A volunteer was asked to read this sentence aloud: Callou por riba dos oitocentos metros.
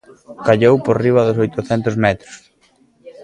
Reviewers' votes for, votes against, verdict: 2, 0, accepted